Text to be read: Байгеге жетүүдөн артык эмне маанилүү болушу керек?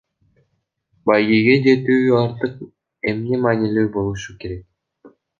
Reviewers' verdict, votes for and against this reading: rejected, 0, 2